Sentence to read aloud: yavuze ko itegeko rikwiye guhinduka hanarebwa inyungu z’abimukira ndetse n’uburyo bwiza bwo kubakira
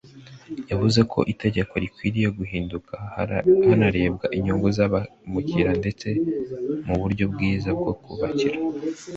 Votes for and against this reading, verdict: 0, 2, rejected